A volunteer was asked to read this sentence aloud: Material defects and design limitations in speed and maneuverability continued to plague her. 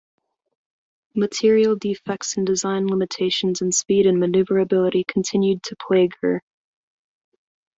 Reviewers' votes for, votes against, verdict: 2, 0, accepted